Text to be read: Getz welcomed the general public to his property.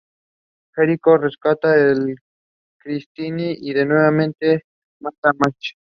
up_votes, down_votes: 0, 2